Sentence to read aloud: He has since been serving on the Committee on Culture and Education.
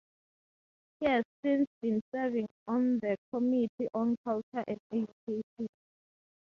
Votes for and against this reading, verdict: 0, 2, rejected